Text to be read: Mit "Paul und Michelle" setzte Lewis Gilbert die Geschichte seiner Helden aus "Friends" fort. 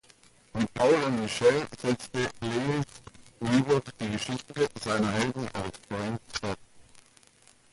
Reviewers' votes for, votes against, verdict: 1, 2, rejected